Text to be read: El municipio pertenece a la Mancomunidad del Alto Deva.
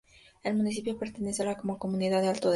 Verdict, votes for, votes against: rejected, 0, 2